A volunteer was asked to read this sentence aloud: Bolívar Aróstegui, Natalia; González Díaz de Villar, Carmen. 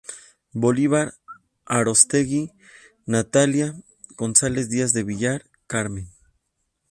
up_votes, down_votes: 4, 0